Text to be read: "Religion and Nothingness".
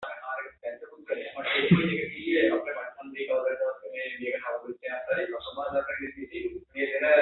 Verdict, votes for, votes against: rejected, 0, 2